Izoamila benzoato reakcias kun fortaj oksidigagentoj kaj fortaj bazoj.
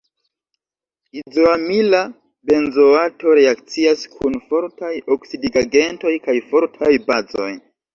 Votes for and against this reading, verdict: 1, 2, rejected